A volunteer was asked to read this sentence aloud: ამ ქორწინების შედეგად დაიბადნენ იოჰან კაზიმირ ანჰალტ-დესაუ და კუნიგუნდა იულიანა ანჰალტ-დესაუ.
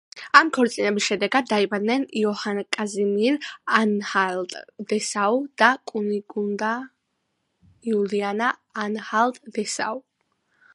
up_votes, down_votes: 2, 1